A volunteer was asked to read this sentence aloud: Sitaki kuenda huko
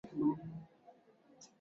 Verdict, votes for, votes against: rejected, 0, 6